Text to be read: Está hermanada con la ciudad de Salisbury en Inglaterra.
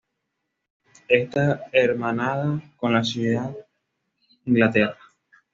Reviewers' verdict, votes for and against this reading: rejected, 1, 2